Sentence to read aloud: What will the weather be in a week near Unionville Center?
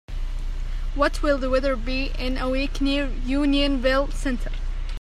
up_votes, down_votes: 2, 0